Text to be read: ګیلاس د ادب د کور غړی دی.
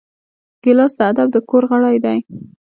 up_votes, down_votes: 2, 1